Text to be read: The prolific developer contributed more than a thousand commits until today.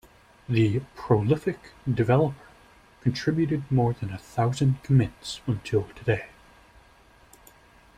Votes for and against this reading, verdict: 2, 0, accepted